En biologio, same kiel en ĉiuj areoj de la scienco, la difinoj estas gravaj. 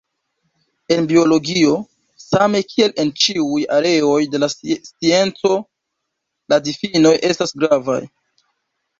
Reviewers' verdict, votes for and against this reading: rejected, 0, 2